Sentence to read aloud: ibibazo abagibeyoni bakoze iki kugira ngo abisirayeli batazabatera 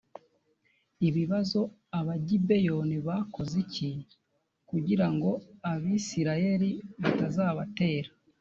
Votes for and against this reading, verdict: 2, 0, accepted